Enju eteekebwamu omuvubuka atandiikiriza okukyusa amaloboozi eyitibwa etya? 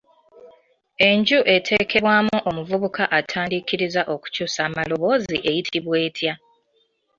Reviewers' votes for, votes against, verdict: 2, 0, accepted